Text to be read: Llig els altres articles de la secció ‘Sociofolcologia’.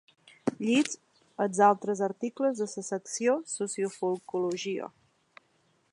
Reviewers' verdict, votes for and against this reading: accepted, 2, 0